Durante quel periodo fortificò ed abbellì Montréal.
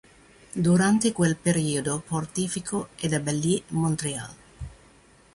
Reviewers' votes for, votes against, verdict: 0, 2, rejected